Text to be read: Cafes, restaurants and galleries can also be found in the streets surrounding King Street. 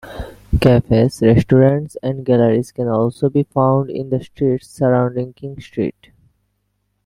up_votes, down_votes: 2, 0